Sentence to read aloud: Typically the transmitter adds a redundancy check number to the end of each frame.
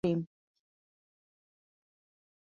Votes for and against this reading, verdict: 0, 2, rejected